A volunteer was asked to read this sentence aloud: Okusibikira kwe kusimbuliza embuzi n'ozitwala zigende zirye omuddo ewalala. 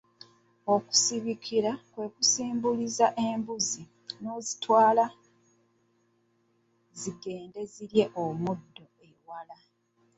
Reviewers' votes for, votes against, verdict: 1, 2, rejected